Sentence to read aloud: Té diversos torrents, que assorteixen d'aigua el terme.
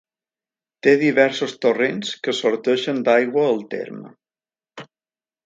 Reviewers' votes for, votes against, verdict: 2, 0, accepted